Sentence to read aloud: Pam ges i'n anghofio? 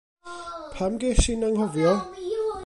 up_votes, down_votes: 1, 2